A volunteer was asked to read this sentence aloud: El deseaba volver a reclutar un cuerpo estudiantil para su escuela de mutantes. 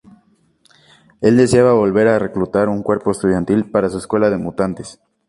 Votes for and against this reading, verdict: 4, 0, accepted